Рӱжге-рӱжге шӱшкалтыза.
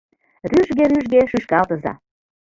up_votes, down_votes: 2, 0